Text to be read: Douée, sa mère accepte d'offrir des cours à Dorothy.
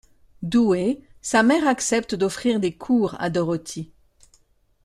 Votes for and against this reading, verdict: 2, 0, accepted